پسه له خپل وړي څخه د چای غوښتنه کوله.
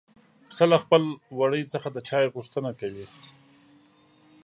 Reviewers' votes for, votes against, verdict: 1, 4, rejected